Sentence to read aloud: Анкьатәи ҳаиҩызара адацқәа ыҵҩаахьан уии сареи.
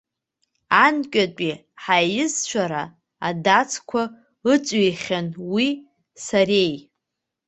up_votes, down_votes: 1, 2